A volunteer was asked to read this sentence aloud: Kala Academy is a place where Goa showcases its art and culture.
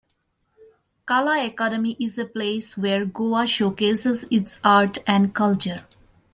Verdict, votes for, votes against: accepted, 2, 0